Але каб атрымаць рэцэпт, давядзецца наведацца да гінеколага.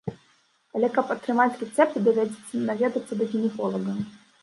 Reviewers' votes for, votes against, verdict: 0, 2, rejected